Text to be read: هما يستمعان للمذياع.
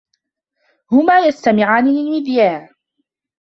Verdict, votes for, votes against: rejected, 0, 2